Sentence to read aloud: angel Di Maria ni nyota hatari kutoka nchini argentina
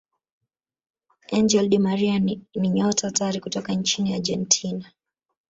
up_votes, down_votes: 1, 2